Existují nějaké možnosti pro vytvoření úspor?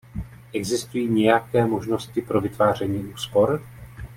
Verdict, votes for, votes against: rejected, 0, 2